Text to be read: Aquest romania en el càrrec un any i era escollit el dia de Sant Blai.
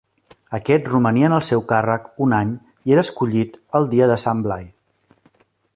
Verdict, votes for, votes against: rejected, 1, 2